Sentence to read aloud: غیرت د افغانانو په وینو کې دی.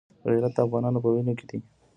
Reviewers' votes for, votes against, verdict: 2, 1, accepted